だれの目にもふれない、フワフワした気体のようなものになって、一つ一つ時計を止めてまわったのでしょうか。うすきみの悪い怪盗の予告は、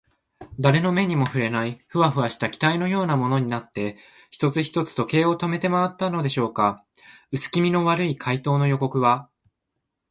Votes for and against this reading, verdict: 2, 0, accepted